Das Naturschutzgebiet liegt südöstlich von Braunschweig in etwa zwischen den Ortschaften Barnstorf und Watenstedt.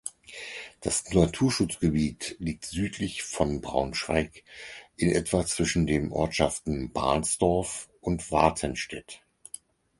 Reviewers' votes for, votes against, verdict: 0, 4, rejected